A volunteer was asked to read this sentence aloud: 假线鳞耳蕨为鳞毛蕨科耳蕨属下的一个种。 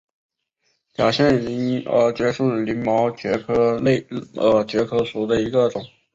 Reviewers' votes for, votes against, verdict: 2, 1, accepted